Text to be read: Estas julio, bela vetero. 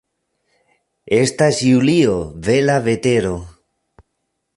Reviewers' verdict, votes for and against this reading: rejected, 0, 2